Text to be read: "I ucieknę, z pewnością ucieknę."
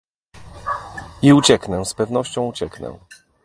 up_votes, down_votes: 2, 0